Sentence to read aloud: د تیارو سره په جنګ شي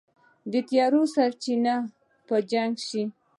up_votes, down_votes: 1, 2